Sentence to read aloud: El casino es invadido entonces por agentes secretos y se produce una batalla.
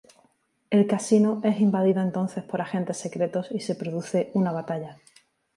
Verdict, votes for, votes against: accepted, 2, 0